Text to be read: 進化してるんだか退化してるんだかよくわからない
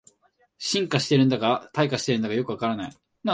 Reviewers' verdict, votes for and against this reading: accepted, 4, 0